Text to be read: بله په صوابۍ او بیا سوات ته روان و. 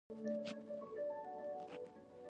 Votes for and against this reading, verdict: 1, 2, rejected